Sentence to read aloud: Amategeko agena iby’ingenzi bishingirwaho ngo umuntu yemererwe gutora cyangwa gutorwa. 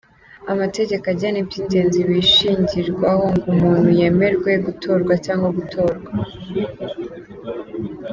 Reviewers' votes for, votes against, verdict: 0, 2, rejected